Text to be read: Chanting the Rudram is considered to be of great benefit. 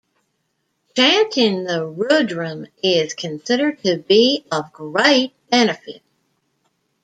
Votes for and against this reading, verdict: 2, 0, accepted